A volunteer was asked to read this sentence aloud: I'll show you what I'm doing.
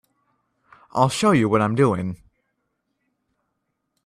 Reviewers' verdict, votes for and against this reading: accepted, 2, 0